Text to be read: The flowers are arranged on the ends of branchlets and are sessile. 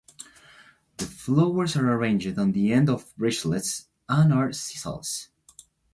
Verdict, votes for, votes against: rejected, 1, 2